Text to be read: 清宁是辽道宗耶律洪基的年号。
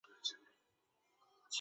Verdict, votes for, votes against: rejected, 0, 2